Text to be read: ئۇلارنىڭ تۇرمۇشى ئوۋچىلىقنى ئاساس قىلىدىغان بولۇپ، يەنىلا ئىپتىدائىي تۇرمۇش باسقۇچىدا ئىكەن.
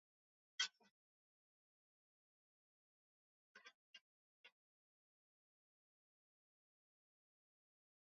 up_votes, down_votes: 0, 2